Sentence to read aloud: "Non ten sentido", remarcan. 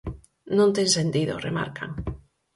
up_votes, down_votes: 4, 0